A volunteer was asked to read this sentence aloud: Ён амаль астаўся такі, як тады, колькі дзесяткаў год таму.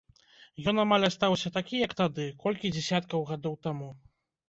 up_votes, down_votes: 1, 2